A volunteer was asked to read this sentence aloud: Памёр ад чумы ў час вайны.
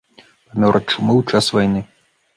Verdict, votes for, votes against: rejected, 0, 2